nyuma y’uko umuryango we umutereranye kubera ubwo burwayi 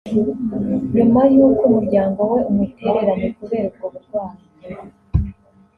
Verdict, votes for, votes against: accepted, 2, 0